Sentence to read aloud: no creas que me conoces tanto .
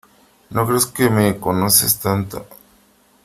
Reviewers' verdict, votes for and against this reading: accepted, 3, 0